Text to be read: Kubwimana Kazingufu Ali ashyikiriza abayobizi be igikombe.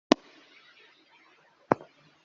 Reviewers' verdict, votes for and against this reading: rejected, 0, 2